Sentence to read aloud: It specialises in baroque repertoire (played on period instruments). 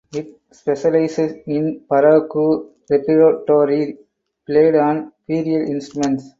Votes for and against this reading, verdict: 2, 4, rejected